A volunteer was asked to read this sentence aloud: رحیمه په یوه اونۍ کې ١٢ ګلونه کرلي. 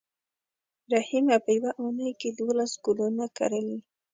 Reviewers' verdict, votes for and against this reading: rejected, 0, 2